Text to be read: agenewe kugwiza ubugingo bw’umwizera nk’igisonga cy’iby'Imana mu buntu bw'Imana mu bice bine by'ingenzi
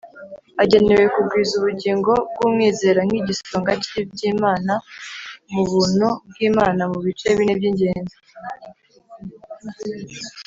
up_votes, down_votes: 2, 0